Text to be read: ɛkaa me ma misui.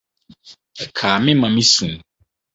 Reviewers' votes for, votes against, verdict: 4, 0, accepted